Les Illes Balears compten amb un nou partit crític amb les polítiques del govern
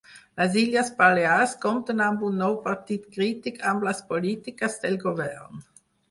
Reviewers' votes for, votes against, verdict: 4, 0, accepted